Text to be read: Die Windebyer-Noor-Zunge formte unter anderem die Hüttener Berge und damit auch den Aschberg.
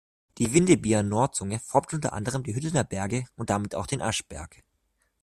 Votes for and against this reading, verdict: 2, 0, accepted